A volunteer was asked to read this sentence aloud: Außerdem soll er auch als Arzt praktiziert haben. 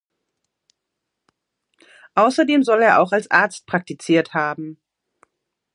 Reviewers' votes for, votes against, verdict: 3, 0, accepted